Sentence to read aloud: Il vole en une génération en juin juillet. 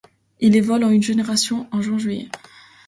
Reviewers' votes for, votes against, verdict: 2, 0, accepted